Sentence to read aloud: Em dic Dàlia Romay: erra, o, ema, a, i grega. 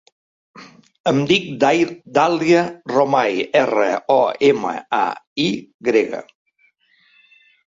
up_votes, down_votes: 0, 2